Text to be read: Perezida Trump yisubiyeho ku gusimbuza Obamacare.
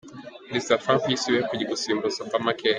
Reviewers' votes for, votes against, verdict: 2, 0, accepted